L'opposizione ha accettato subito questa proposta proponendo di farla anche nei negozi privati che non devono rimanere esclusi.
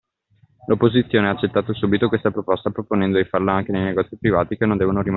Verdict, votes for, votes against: rejected, 0, 2